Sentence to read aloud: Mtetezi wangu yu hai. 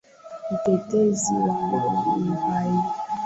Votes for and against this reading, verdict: 2, 0, accepted